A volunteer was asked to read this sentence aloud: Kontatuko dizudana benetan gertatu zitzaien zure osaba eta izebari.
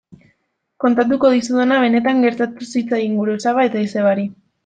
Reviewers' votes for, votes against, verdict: 1, 2, rejected